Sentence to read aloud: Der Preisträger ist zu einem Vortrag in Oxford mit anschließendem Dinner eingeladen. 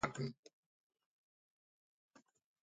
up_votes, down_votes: 0, 2